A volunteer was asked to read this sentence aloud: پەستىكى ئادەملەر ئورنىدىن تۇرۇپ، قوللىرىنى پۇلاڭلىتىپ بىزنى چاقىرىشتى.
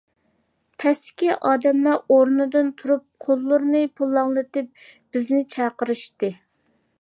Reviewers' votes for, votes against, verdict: 2, 0, accepted